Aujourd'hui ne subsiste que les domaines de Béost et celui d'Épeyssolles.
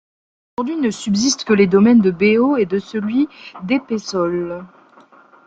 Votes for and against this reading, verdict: 0, 2, rejected